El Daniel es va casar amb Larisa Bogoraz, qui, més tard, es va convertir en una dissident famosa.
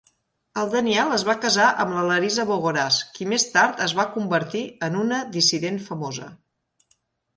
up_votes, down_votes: 1, 2